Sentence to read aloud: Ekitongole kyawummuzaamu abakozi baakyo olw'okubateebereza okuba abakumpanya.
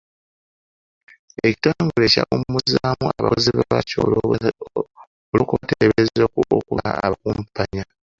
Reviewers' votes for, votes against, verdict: 0, 2, rejected